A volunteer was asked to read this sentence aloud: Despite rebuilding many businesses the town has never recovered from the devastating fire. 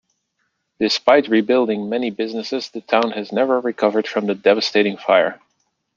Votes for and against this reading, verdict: 2, 0, accepted